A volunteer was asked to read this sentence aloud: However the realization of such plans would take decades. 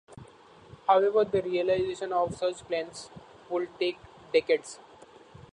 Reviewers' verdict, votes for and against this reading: rejected, 1, 2